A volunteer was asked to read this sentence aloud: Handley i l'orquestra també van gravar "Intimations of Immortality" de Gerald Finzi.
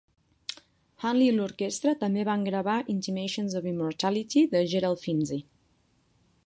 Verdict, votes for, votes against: accepted, 3, 0